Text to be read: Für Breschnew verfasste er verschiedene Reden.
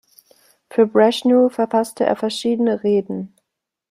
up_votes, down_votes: 1, 2